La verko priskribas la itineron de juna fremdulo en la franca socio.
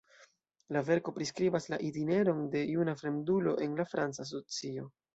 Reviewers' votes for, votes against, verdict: 1, 2, rejected